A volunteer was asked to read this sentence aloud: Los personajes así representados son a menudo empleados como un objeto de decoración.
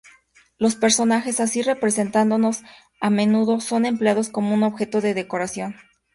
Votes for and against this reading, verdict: 2, 0, accepted